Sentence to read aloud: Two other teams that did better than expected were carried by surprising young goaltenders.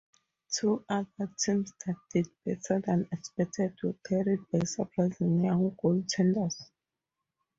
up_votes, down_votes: 2, 2